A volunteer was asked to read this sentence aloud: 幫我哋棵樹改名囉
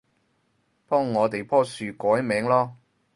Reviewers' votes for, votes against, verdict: 2, 2, rejected